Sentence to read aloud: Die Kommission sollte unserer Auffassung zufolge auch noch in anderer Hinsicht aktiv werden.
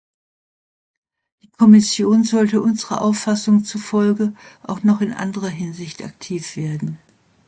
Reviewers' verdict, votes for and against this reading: rejected, 0, 2